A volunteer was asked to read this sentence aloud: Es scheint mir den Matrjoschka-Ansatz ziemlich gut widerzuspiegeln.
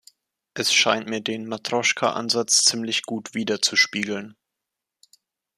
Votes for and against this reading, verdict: 2, 0, accepted